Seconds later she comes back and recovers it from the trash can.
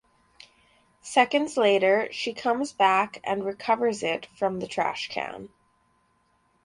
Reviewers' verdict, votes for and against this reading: accepted, 4, 0